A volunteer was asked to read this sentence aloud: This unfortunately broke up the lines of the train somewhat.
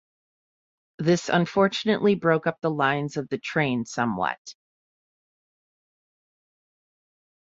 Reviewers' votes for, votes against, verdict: 2, 0, accepted